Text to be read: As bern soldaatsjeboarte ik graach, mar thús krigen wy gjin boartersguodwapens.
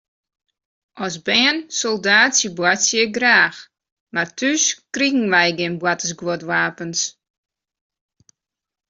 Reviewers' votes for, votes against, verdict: 1, 2, rejected